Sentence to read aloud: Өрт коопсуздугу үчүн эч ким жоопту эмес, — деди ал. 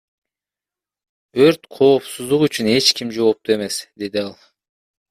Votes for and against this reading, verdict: 2, 0, accepted